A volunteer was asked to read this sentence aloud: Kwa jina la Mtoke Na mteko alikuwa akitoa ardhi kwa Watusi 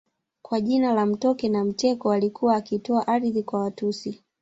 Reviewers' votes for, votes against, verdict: 1, 2, rejected